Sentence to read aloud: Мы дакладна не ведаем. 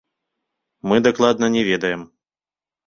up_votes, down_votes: 2, 1